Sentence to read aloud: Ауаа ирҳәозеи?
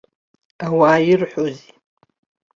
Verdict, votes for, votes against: rejected, 0, 3